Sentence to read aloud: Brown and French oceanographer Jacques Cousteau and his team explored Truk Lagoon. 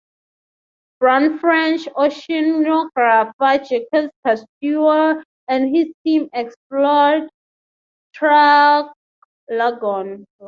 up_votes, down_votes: 3, 3